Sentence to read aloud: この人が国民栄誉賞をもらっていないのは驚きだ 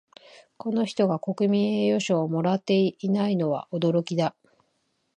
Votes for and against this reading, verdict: 4, 3, accepted